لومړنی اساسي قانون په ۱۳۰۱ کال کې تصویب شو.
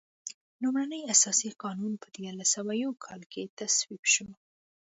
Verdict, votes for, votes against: rejected, 0, 2